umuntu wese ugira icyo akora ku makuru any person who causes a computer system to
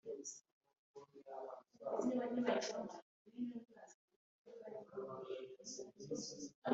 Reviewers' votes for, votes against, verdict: 0, 2, rejected